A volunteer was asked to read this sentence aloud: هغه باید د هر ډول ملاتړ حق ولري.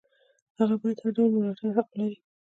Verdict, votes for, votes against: accepted, 2, 1